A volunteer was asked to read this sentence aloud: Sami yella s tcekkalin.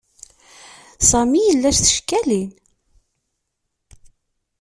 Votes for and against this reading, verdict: 2, 0, accepted